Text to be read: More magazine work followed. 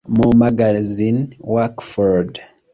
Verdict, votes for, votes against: rejected, 0, 2